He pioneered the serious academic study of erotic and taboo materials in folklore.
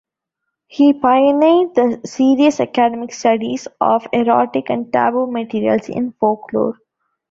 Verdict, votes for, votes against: rejected, 1, 2